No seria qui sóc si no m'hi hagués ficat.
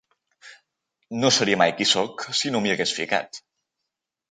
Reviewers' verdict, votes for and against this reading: rejected, 1, 2